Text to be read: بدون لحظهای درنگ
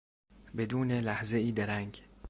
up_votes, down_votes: 2, 0